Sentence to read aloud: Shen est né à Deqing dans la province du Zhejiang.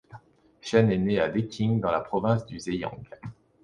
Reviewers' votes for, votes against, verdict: 2, 0, accepted